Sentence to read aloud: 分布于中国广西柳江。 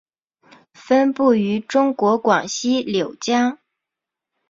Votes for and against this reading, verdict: 2, 0, accepted